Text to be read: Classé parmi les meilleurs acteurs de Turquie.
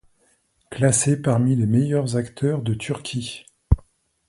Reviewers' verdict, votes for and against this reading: accepted, 2, 0